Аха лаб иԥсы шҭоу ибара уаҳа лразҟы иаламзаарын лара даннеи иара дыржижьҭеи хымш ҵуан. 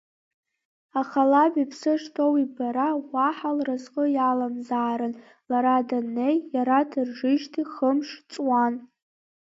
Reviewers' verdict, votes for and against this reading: accepted, 2, 0